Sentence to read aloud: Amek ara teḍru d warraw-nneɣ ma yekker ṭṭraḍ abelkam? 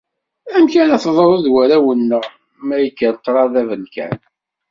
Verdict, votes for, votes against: accepted, 2, 0